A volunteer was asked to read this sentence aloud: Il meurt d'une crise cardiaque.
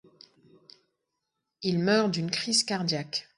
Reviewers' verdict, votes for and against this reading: accepted, 2, 0